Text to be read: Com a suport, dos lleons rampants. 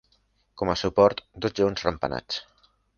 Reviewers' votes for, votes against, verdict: 0, 2, rejected